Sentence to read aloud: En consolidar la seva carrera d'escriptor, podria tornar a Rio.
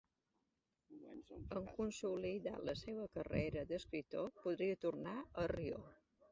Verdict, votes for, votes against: accepted, 2, 1